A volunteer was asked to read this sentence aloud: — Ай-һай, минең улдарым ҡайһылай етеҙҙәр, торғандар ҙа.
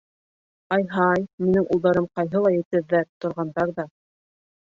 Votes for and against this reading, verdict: 1, 2, rejected